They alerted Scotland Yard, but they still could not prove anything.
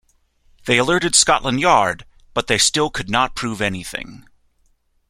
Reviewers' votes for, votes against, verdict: 2, 0, accepted